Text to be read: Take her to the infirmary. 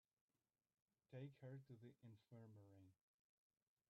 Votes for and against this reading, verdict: 0, 2, rejected